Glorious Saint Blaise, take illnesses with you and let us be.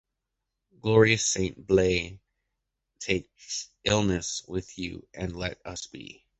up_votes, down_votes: 1, 2